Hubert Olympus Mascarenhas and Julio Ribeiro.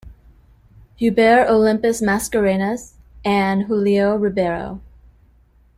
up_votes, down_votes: 1, 2